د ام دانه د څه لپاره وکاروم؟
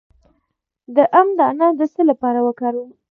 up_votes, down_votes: 2, 0